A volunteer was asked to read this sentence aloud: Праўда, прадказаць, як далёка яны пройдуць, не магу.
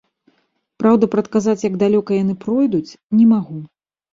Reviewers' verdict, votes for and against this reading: accepted, 2, 0